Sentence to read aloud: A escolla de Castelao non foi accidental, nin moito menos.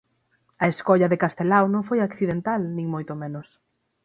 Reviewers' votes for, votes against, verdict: 0, 6, rejected